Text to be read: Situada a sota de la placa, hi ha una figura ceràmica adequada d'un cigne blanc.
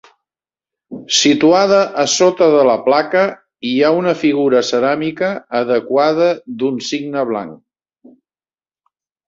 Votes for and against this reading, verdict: 2, 0, accepted